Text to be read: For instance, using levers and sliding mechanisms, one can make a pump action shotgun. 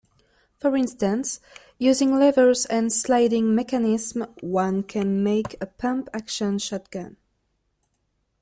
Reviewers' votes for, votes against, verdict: 1, 2, rejected